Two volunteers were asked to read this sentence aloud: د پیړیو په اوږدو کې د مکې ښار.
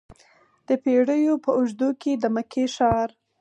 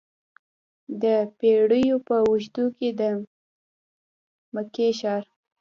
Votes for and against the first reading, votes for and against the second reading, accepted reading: 4, 0, 1, 2, first